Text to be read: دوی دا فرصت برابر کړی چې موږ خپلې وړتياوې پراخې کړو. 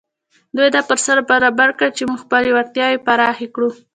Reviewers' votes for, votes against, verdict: 2, 0, accepted